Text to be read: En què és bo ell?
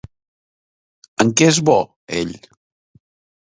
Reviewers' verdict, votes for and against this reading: accepted, 2, 0